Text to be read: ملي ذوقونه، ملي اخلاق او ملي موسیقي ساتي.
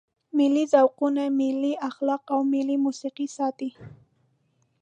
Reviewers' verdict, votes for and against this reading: accepted, 2, 0